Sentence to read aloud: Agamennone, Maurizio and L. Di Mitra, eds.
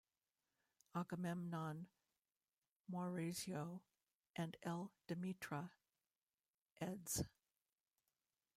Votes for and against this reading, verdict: 0, 2, rejected